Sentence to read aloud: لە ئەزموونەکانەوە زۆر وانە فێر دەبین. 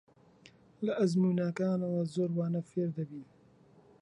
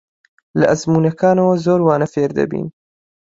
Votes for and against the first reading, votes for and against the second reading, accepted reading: 1, 2, 2, 1, second